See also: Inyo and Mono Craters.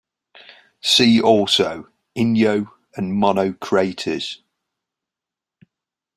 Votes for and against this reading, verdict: 2, 1, accepted